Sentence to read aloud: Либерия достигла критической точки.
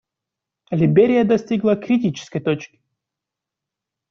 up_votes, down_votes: 1, 2